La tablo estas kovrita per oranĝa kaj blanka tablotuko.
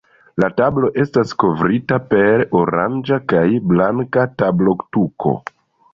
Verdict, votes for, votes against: accepted, 2, 0